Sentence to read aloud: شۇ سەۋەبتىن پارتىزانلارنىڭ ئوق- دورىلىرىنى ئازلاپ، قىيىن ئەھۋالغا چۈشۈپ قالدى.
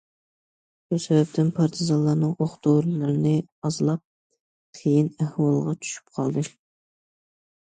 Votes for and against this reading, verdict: 2, 0, accepted